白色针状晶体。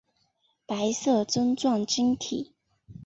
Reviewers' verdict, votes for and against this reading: accepted, 4, 0